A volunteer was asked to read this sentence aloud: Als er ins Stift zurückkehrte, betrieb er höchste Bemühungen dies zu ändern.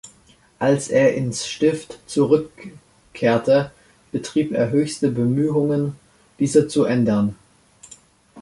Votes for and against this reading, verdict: 0, 2, rejected